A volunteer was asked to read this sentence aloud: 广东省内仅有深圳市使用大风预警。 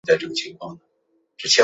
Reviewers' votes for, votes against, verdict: 2, 1, accepted